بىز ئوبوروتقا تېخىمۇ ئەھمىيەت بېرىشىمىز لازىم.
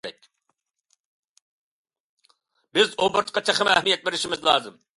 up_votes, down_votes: 2, 0